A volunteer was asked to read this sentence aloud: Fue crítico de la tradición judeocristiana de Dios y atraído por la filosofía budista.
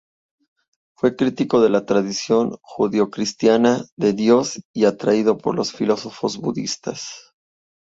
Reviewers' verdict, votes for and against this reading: rejected, 0, 2